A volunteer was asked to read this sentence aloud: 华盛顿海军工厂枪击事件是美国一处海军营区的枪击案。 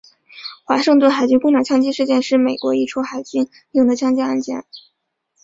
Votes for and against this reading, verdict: 0, 2, rejected